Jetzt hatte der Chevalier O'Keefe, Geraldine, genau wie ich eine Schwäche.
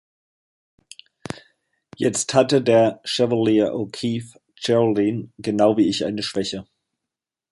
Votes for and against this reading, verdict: 1, 2, rejected